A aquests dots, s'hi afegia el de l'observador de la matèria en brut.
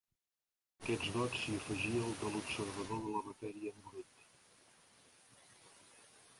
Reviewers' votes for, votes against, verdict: 1, 2, rejected